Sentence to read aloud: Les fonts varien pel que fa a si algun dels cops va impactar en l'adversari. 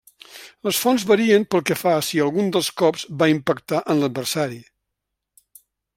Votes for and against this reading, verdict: 3, 0, accepted